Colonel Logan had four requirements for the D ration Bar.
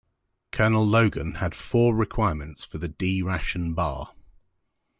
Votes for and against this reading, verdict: 2, 0, accepted